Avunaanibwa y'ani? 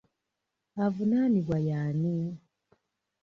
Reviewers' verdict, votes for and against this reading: accepted, 2, 0